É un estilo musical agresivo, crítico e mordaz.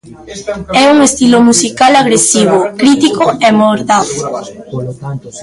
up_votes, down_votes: 0, 2